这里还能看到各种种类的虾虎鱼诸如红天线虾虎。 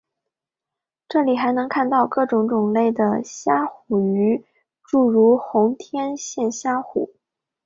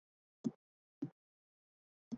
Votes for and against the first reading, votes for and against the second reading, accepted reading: 2, 1, 0, 3, first